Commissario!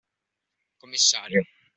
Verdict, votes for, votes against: rejected, 1, 2